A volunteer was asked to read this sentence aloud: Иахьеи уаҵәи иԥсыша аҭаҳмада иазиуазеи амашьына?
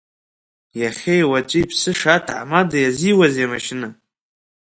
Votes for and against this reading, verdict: 2, 1, accepted